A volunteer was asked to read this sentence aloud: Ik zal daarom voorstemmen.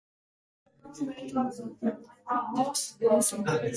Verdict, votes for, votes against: rejected, 0, 2